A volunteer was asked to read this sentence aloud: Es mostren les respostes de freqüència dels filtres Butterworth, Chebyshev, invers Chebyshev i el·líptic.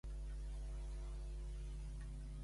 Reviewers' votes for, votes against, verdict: 1, 2, rejected